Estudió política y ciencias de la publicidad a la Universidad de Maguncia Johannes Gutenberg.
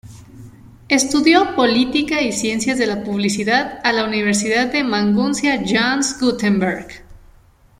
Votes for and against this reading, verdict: 2, 0, accepted